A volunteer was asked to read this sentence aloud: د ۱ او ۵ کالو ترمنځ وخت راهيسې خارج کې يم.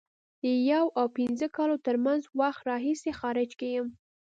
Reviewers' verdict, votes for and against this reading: rejected, 0, 2